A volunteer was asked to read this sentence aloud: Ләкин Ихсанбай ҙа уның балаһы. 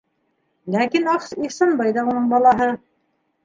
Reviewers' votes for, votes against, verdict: 3, 2, accepted